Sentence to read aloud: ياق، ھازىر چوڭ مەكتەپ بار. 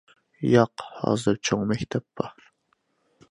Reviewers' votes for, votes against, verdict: 2, 0, accepted